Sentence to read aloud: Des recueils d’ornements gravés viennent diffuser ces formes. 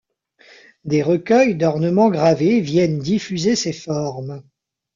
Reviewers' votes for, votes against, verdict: 2, 0, accepted